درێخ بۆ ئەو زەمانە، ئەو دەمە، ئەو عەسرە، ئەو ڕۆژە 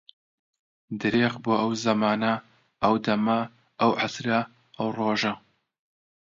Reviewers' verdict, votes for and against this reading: accepted, 2, 0